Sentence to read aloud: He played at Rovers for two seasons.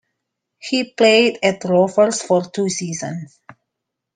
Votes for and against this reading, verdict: 2, 1, accepted